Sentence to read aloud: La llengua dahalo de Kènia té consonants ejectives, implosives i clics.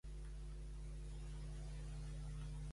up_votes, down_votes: 0, 2